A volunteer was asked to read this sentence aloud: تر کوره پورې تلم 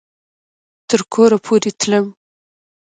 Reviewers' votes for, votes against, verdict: 0, 2, rejected